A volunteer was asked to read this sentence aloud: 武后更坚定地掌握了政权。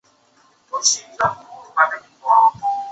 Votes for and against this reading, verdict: 0, 2, rejected